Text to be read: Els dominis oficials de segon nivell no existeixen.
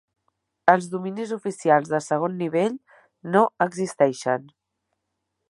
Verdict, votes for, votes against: accepted, 2, 0